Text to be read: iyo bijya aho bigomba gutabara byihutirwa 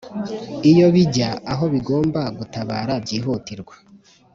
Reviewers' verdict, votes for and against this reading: accepted, 3, 1